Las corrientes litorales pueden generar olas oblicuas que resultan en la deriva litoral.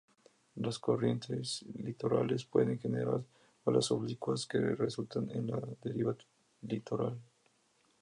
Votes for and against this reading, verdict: 2, 0, accepted